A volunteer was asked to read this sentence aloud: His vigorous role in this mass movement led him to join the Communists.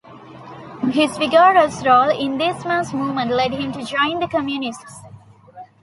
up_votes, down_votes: 1, 2